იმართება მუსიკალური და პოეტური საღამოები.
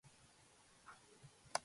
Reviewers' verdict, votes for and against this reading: rejected, 0, 2